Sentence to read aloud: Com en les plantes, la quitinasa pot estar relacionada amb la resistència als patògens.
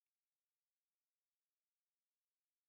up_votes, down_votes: 0, 2